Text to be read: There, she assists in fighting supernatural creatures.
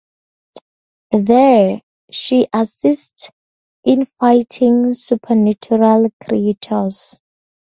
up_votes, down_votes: 2, 0